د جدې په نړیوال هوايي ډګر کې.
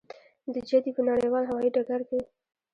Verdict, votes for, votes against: accepted, 2, 1